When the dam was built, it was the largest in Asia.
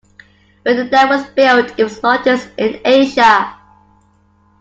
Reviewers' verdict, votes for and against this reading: accepted, 2, 1